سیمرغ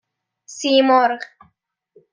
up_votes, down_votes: 2, 0